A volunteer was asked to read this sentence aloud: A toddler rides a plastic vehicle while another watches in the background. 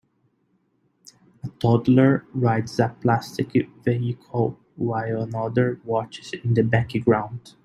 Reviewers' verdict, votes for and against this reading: accepted, 3, 0